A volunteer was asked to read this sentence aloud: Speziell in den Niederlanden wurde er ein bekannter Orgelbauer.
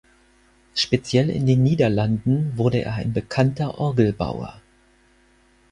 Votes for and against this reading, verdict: 4, 0, accepted